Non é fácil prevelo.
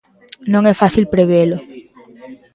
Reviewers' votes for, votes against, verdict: 2, 1, accepted